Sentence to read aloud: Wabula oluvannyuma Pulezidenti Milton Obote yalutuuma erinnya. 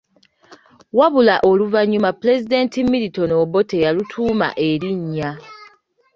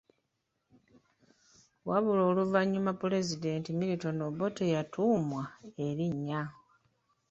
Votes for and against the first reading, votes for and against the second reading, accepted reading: 2, 0, 0, 3, first